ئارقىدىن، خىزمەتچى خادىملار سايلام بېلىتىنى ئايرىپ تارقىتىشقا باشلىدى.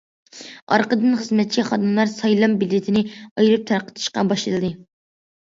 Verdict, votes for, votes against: accepted, 2, 0